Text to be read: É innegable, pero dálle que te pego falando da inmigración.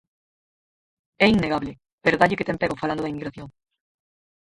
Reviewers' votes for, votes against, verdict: 0, 6, rejected